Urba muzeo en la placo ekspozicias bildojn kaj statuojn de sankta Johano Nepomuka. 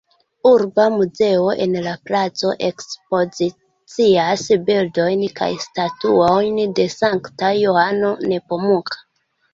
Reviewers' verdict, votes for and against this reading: accepted, 2, 1